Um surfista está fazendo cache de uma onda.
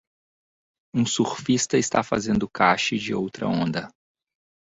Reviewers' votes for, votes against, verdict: 0, 2, rejected